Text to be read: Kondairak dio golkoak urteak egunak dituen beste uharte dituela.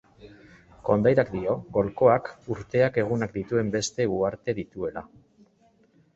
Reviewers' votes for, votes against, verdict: 2, 0, accepted